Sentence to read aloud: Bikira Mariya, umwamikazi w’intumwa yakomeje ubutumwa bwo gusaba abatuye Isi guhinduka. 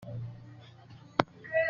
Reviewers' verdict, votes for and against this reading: rejected, 0, 2